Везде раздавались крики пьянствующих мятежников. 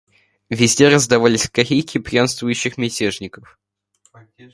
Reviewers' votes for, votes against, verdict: 1, 2, rejected